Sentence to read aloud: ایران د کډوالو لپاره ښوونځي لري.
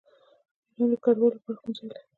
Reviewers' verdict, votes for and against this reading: rejected, 0, 2